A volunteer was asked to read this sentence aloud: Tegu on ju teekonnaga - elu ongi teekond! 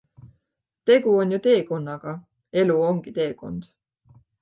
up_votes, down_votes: 2, 0